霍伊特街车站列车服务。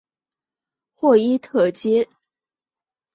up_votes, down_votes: 1, 2